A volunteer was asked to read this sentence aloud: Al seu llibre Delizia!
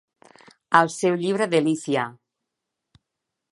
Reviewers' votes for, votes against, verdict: 1, 2, rejected